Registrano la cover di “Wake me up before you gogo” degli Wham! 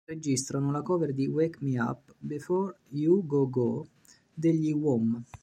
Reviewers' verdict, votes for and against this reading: rejected, 0, 2